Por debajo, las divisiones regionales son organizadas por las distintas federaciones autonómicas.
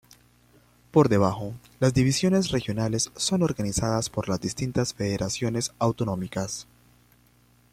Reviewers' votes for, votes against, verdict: 2, 0, accepted